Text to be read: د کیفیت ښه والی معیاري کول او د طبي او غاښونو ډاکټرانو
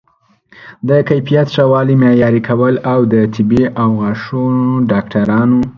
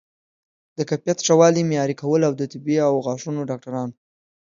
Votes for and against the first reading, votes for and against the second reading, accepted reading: 2, 0, 1, 2, first